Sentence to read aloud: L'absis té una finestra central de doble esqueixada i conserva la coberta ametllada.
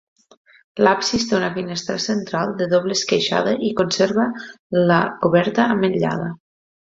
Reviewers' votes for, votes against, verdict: 2, 0, accepted